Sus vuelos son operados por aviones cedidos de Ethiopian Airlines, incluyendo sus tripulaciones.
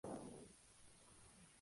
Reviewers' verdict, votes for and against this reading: rejected, 0, 4